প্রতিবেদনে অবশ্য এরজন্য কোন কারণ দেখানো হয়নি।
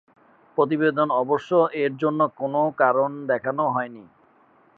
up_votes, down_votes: 1, 2